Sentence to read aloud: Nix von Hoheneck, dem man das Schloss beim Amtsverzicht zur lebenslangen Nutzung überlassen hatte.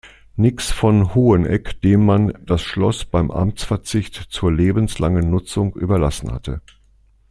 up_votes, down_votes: 2, 0